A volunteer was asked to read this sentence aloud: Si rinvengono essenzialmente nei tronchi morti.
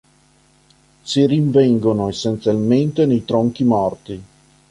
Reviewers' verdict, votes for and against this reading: accepted, 2, 0